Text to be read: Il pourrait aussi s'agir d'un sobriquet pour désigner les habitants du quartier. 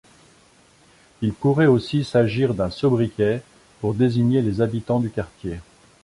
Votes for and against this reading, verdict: 2, 0, accepted